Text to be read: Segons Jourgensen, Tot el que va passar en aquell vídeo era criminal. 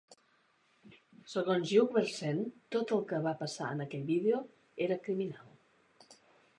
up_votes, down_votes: 0, 2